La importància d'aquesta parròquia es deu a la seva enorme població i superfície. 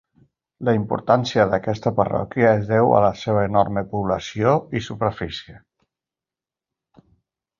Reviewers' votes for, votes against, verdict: 3, 0, accepted